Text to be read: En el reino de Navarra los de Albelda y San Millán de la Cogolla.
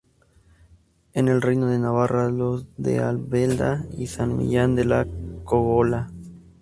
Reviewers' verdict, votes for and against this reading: rejected, 0, 2